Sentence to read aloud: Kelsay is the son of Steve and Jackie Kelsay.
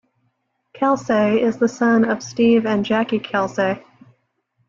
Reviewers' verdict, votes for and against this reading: accepted, 2, 0